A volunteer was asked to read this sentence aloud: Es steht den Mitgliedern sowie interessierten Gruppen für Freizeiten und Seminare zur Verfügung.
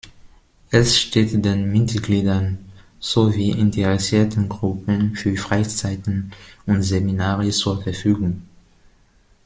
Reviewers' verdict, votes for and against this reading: rejected, 2, 3